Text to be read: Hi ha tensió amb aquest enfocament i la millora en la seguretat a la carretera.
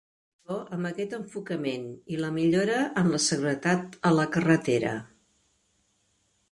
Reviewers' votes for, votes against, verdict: 0, 3, rejected